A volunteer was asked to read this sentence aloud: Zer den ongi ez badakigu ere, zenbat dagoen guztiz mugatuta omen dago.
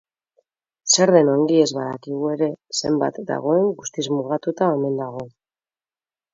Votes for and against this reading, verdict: 2, 0, accepted